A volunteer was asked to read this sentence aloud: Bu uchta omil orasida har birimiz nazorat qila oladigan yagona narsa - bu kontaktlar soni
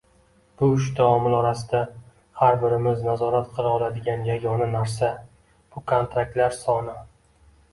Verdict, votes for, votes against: rejected, 0, 2